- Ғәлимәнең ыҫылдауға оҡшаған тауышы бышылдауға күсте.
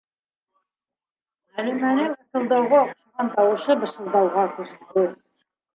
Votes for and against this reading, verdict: 0, 2, rejected